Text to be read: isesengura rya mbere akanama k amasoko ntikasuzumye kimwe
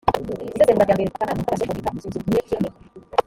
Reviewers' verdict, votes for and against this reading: rejected, 0, 2